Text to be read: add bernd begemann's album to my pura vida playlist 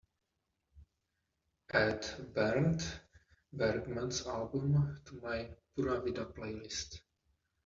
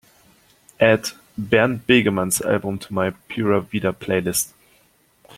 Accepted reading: second